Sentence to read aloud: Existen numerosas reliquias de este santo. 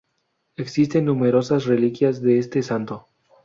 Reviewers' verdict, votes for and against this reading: accepted, 2, 0